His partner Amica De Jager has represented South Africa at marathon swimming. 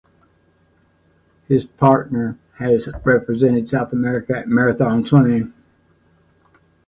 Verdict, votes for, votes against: rejected, 1, 2